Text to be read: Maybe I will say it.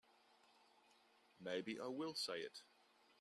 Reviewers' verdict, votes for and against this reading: accepted, 2, 0